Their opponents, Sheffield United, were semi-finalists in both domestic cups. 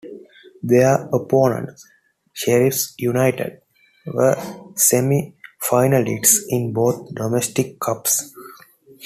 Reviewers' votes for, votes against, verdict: 0, 2, rejected